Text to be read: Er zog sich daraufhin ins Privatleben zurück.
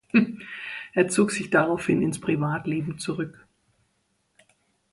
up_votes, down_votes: 2, 0